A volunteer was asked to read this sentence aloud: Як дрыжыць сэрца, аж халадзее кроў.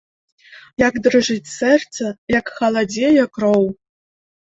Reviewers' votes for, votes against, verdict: 0, 2, rejected